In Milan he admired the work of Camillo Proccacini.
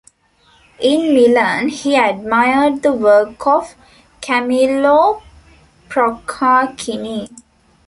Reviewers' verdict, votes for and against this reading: rejected, 0, 2